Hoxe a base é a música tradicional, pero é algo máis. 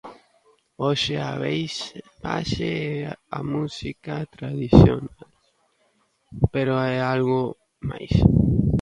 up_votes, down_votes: 0, 2